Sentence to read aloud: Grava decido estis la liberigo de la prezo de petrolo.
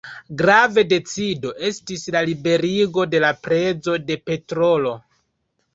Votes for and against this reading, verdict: 2, 0, accepted